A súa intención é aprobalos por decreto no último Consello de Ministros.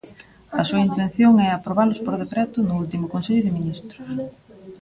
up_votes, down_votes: 1, 2